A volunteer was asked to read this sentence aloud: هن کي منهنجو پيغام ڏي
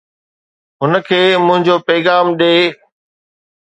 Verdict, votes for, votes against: accepted, 2, 0